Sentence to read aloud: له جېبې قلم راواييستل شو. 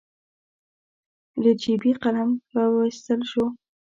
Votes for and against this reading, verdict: 2, 0, accepted